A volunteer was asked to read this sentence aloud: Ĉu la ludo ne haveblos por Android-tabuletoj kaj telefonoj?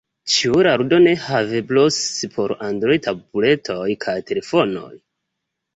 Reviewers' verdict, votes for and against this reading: rejected, 1, 2